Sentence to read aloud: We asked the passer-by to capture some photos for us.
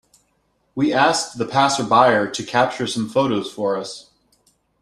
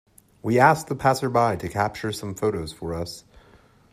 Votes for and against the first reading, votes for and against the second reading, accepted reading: 1, 2, 2, 0, second